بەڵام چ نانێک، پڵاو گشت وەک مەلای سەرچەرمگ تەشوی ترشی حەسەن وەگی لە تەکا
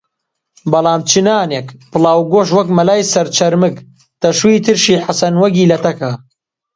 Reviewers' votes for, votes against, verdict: 2, 0, accepted